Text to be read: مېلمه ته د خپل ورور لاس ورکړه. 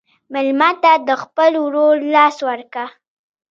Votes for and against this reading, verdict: 0, 2, rejected